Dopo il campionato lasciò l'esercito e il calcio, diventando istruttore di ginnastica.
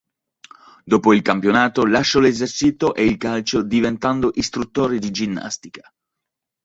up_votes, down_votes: 0, 2